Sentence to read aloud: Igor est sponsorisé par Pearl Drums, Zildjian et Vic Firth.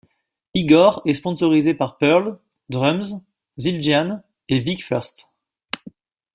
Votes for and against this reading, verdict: 1, 2, rejected